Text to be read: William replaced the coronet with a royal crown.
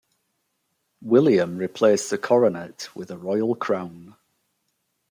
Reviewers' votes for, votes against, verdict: 0, 2, rejected